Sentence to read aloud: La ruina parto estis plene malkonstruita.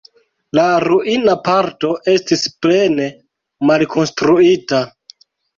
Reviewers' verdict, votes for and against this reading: accepted, 2, 1